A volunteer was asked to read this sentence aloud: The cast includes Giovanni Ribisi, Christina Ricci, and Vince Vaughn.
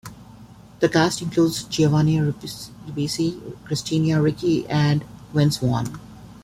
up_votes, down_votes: 1, 3